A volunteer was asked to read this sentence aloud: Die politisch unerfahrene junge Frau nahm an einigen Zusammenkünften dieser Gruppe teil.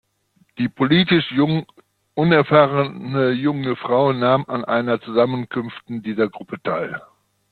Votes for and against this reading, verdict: 0, 2, rejected